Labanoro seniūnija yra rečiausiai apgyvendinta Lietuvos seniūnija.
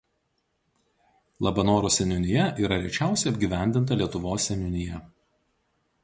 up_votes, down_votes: 2, 0